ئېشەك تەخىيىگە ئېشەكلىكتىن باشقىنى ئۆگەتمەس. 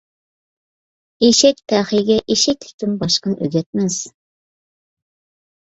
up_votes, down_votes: 2, 0